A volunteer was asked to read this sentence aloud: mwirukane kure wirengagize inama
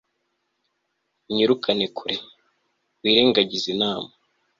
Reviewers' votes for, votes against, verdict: 2, 0, accepted